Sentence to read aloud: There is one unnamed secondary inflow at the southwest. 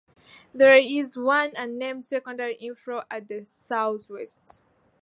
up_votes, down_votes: 2, 0